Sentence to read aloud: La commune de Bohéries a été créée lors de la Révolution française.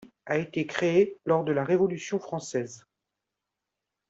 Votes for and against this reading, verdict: 0, 2, rejected